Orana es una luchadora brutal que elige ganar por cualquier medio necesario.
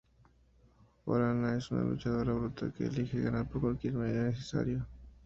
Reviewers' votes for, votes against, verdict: 4, 4, rejected